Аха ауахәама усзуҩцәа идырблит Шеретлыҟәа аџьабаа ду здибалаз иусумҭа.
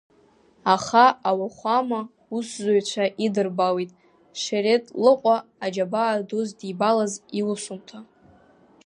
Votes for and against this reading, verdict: 2, 1, accepted